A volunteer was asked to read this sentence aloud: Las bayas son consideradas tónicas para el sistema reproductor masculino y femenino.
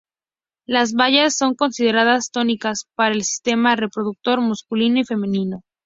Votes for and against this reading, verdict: 0, 2, rejected